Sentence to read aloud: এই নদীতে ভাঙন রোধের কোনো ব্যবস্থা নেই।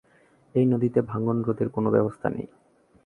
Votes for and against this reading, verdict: 6, 1, accepted